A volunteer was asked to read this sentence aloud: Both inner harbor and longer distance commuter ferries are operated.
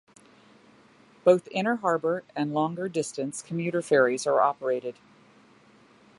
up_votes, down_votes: 2, 0